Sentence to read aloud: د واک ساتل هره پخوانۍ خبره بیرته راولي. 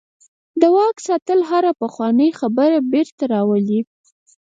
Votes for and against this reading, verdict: 2, 4, rejected